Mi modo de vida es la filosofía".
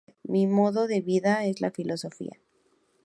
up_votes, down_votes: 2, 0